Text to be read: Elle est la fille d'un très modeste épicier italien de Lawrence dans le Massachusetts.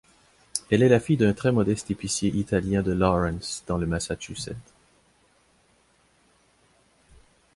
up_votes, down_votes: 2, 0